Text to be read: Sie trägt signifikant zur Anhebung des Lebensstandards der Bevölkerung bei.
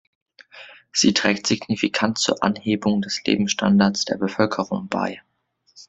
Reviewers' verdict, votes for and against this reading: accepted, 2, 0